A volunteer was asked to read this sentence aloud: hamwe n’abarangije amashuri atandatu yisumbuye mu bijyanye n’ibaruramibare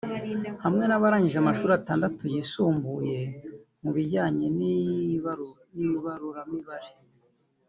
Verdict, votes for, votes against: rejected, 0, 2